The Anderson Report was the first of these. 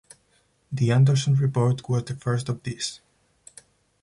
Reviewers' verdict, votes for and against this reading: rejected, 0, 4